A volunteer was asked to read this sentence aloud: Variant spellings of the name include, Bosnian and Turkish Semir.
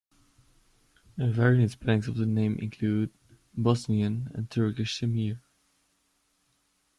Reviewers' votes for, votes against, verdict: 2, 0, accepted